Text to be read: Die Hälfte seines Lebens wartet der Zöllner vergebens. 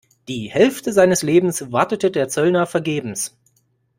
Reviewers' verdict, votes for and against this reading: rejected, 0, 2